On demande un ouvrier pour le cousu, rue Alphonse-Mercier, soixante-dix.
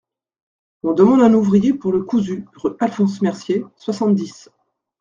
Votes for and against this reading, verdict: 1, 2, rejected